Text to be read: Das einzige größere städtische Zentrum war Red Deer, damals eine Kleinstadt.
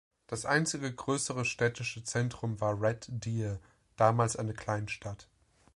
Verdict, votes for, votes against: accepted, 2, 0